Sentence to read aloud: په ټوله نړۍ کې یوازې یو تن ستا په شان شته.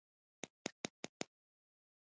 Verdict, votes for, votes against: accepted, 2, 1